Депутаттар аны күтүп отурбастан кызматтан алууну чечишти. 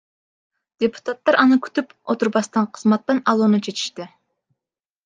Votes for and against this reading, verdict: 1, 2, rejected